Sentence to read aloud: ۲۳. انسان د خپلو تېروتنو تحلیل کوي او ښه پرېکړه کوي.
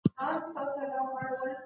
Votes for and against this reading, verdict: 0, 2, rejected